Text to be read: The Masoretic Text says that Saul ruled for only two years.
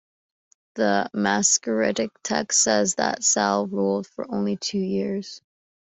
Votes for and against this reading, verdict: 1, 2, rejected